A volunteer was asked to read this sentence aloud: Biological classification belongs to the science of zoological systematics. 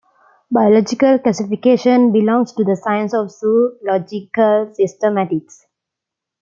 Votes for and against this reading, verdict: 2, 0, accepted